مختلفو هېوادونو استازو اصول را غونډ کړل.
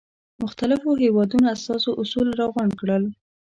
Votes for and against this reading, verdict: 2, 0, accepted